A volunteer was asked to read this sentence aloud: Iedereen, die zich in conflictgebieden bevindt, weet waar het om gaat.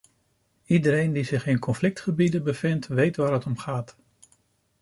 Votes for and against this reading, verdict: 2, 0, accepted